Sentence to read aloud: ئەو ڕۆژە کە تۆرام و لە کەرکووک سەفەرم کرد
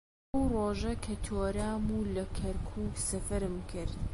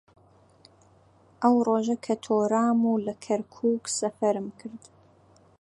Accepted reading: second